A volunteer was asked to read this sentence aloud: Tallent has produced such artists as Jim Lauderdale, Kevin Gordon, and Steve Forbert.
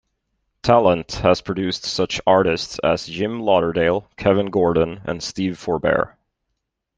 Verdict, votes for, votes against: accepted, 2, 0